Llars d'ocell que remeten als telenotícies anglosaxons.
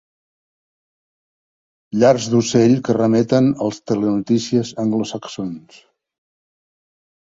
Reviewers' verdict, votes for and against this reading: accepted, 2, 0